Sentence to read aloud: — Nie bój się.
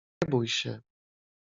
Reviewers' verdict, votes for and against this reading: rejected, 0, 2